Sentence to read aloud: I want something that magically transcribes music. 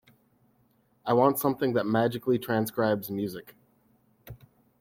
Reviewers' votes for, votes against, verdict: 2, 0, accepted